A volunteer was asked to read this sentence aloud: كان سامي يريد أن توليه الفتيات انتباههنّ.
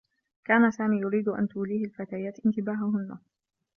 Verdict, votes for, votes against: accepted, 2, 0